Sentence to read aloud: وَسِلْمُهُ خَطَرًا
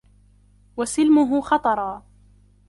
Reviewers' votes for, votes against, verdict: 3, 1, accepted